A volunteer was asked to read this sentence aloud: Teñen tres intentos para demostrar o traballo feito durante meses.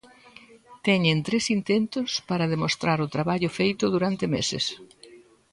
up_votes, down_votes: 1, 2